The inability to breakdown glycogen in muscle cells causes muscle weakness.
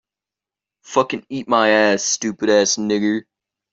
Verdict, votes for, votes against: rejected, 0, 2